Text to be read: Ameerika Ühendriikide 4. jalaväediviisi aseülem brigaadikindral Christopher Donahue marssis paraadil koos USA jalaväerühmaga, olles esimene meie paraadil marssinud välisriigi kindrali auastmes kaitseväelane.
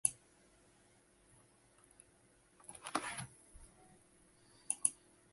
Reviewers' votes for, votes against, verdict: 0, 2, rejected